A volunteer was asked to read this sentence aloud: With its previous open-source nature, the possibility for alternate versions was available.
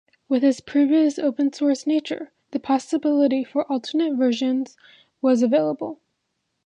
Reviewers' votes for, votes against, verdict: 2, 0, accepted